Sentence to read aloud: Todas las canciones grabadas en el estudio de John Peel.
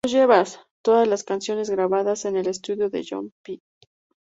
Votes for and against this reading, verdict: 2, 8, rejected